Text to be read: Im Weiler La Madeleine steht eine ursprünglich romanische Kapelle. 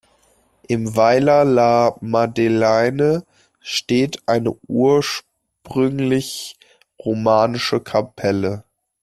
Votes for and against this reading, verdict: 1, 2, rejected